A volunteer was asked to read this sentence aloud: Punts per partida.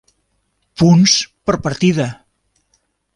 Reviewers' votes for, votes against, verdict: 3, 0, accepted